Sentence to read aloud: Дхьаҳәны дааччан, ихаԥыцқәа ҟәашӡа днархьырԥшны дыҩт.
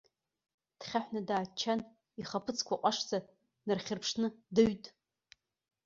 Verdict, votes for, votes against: accepted, 2, 0